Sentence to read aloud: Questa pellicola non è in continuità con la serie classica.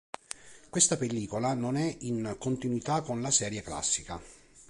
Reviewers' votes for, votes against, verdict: 2, 0, accepted